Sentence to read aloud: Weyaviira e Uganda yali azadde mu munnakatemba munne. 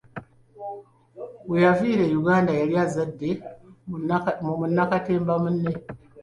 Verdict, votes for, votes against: accepted, 2, 0